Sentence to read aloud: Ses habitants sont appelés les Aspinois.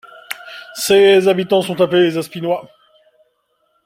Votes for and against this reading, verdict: 2, 0, accepted